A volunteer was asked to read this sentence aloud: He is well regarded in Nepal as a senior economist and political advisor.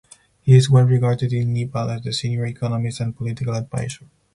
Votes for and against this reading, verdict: 4, 0, accepted